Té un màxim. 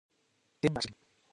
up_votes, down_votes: 0, 3